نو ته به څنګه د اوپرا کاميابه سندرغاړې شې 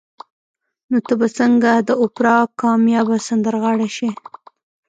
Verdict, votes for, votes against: rejected, 1, 2